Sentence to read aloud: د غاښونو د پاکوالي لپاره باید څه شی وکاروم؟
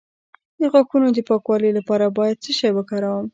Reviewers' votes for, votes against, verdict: 1, 2, rejected